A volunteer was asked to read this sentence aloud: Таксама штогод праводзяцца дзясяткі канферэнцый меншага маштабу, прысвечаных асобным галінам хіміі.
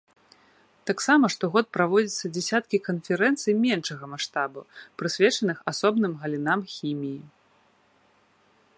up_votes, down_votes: 2, 0